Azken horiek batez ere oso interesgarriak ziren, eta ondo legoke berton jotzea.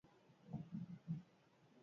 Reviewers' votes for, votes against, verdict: 0, 8, rejected